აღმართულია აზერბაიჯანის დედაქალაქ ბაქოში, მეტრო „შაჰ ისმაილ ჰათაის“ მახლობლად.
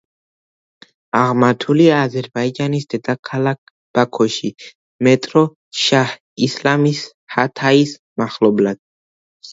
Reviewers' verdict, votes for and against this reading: rejected, 0, 2